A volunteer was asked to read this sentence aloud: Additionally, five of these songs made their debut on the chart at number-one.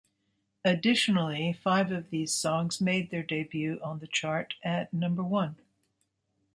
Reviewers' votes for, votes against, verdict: 2, 0, accepted